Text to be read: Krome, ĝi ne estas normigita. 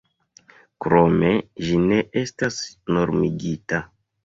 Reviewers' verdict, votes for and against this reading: accepted, 2, 0